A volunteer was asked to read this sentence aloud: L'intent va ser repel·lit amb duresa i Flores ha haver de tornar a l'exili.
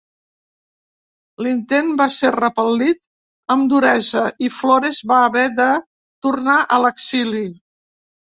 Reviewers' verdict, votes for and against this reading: rejected, 0, 2